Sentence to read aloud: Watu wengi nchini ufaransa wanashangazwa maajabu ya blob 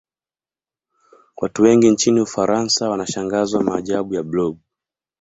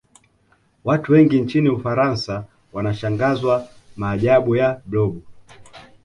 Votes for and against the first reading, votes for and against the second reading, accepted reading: 1, 2, 2, 0, second